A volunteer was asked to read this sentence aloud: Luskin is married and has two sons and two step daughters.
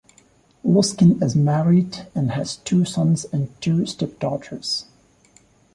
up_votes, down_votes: 2, 0